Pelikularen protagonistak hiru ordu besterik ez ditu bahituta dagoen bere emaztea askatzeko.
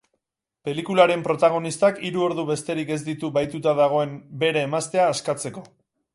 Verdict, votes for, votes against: rejected, 2, 2